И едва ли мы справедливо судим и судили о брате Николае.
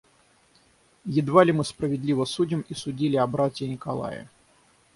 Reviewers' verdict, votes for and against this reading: rejected, 0, 3